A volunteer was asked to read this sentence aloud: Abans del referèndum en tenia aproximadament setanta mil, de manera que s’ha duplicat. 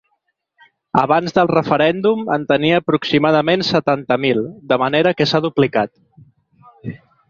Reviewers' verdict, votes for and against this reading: accepted, 3, 0